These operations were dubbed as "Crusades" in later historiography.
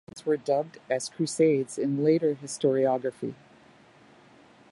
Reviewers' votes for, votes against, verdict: 1, 2, rejected